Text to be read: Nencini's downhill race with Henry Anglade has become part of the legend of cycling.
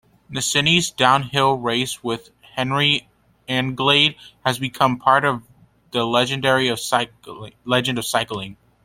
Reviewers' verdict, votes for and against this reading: rejected, 0, 2